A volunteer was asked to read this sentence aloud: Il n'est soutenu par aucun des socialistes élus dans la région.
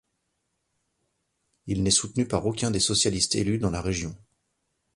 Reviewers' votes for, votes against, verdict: 2, 0, accepted